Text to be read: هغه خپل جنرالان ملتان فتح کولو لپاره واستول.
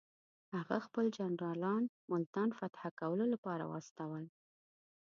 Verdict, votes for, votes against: accepted, 2, 0